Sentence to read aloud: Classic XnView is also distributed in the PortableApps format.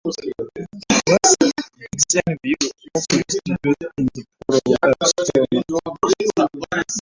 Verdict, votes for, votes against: rejected, 0, 2